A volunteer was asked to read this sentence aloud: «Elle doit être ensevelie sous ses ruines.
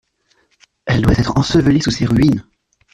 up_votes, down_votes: 2, 0